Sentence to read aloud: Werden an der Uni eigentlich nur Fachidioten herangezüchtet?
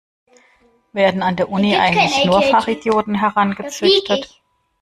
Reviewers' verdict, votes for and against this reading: rejected, 0, 2